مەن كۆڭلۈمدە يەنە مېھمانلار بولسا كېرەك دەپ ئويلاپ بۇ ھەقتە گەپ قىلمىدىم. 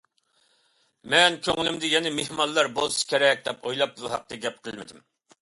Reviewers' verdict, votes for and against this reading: accepted, 2, 0